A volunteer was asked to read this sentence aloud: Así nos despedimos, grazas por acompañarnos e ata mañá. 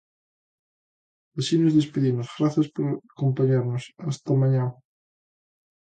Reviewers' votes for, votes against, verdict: 0, 2, rejected